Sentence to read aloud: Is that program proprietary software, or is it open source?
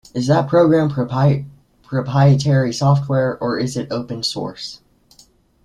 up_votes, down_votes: 0, 2